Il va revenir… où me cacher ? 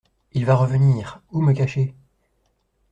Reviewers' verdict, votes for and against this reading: accepted, 2, 0